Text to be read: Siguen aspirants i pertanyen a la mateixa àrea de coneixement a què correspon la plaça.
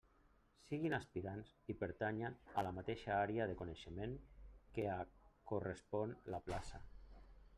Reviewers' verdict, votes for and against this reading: rejected, 1, 2